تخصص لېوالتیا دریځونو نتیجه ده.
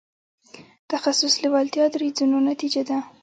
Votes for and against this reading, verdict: 2, 0, accepted